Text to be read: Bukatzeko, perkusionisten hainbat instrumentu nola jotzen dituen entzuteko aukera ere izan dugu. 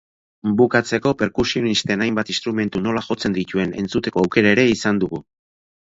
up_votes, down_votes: 2, 0